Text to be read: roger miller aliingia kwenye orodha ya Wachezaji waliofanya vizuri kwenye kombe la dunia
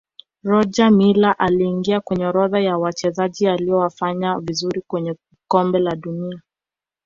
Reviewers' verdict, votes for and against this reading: accepted, 2, 1